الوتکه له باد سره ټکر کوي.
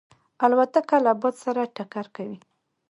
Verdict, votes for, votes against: rejected, 1, 2